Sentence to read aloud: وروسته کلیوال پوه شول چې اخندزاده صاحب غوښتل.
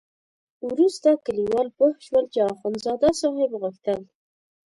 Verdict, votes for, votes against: accepted, 2, 0